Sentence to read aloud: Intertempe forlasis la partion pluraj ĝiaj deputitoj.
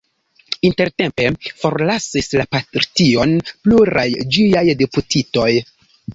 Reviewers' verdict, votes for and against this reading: accepted, 2, 1